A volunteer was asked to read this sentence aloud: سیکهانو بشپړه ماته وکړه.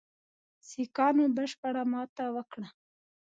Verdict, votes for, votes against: accepted, 2, 0